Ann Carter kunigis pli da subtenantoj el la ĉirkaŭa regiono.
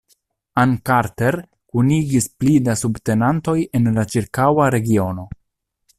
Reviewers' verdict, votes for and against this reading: rejected, 1, 2